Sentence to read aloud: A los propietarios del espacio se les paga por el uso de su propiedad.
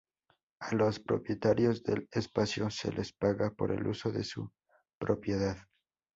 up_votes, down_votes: 4, 0